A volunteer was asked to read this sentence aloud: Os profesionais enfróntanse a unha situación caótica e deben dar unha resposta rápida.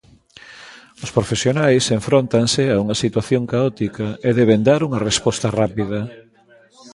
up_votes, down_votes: 2, 0